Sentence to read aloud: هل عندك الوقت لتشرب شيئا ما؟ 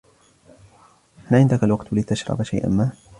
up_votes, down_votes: 2, 0